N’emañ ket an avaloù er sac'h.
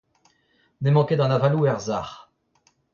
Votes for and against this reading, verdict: 0, 2, rejected